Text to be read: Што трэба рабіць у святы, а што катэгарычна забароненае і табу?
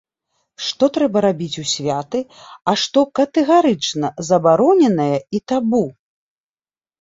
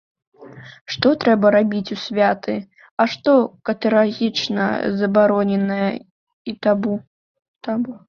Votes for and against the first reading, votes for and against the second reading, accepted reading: 2, 0, 0, 2, first